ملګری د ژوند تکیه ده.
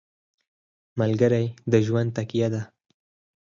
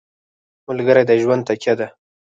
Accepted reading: first